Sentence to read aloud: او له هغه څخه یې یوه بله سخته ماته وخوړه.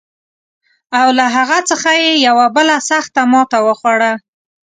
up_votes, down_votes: 2, 0